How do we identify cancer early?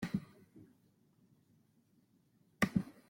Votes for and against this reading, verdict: 0, 2, rejected